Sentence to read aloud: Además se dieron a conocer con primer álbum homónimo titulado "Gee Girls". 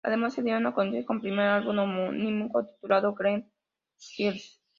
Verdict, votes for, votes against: rejected, 0, 2